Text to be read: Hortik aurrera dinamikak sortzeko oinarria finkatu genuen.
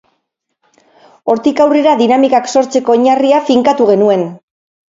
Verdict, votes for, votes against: rejected, 2, 2